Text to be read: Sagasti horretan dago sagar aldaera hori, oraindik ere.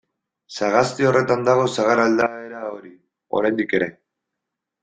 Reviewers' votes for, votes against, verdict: 2, 0, accepted